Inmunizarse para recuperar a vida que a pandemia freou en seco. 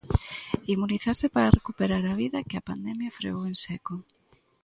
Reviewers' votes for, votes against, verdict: 2, 0, accepted